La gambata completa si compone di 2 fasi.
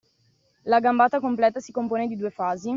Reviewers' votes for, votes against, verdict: 0, 2, rejected